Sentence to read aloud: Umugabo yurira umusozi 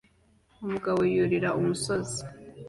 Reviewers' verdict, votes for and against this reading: accepted, 2, 0